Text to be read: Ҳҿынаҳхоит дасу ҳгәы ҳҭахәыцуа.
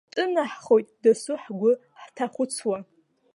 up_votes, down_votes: 1, 2